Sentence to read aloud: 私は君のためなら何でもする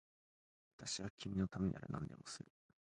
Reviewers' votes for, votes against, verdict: 0, 3, rejected